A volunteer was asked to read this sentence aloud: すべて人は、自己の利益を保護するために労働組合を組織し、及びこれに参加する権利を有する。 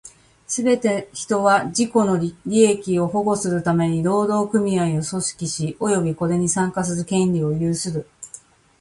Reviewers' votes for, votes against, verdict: 2, 0, accepted